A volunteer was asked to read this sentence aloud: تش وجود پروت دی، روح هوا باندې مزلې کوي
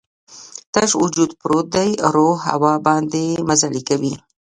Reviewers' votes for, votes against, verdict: 0, 2, rejected